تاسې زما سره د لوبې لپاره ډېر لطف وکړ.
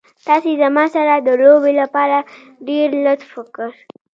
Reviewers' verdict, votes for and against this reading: rejected, 1, 2